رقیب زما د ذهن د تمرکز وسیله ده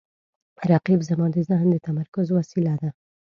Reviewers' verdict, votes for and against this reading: accepted, 2, 0